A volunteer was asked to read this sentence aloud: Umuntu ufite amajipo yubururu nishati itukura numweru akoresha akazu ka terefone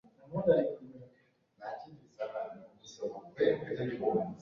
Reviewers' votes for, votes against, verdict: 0, 2, rejected